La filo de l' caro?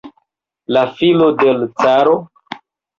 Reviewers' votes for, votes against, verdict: 2, 0, accepted